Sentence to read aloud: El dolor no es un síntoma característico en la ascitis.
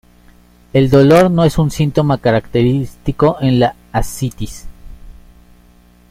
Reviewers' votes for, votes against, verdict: 2, 1, accepted